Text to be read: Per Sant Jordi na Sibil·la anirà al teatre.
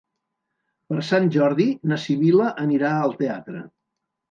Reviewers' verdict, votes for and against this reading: accepted, 3, 0